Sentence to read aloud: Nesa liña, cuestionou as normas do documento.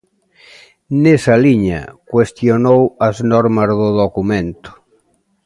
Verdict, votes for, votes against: accepted, 2, 0